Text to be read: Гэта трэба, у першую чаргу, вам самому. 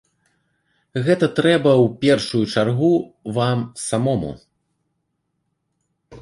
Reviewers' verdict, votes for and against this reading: accepted, 2, 0